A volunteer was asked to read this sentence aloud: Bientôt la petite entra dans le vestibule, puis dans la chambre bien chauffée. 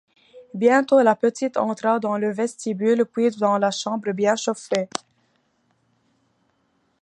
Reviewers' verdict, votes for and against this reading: rejected, 1, 2